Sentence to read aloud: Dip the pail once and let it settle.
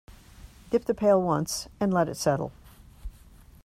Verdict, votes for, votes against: accepted, 2, 0